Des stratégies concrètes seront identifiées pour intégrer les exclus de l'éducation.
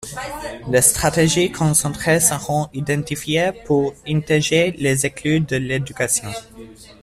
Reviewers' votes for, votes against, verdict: 0, 2, rejected